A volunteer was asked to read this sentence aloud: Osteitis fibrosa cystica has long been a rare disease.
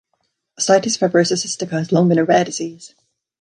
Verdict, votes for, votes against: rejected, 0, 2